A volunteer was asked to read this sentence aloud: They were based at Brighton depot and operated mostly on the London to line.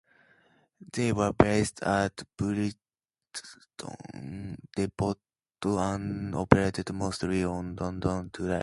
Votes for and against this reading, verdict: 0, 2, rejected